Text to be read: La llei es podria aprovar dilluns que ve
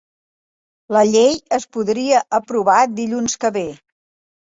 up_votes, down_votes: 3, 0